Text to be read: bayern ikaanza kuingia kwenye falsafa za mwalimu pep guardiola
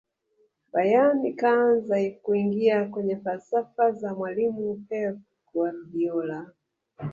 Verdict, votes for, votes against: rejected, 1, 2